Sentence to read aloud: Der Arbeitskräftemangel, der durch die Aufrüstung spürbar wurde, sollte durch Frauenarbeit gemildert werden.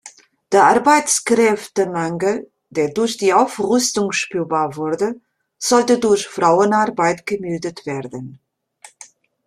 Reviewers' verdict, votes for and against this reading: accepted, 2, 0